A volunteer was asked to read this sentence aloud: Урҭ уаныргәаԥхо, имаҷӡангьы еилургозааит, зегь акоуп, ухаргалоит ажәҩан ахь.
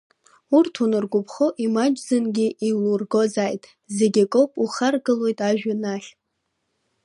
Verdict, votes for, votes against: accepted, 2, 1